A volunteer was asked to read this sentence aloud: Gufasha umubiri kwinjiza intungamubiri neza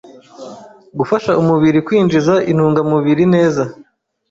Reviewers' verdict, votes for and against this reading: accepted, 2, 0